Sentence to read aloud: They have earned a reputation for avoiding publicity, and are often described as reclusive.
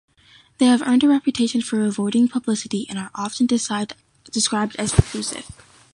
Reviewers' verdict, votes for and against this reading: rejected, 1, 2